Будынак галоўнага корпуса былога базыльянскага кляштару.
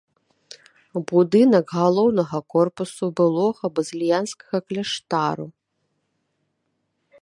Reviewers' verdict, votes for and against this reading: accepted, 2, 1